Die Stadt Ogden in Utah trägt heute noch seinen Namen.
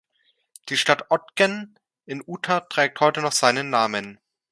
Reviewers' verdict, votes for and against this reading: accepted, 2, 0